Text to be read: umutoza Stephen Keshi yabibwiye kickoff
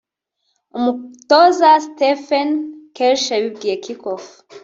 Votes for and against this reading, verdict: 1, 2, rejected